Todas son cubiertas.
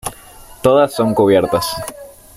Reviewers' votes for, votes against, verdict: 2, 1, accepted